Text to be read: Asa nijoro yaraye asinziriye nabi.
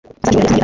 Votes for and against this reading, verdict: 1, 2, rejected